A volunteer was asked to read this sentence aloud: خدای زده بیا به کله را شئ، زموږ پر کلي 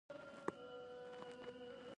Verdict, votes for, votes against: rejected, 1, 2